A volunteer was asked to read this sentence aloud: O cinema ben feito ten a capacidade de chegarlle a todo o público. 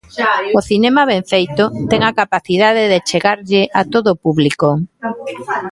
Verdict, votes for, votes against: rejected, 1, 2